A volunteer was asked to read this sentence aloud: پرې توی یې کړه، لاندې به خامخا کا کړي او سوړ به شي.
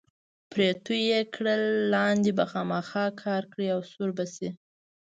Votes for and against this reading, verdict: 2, 1, accepted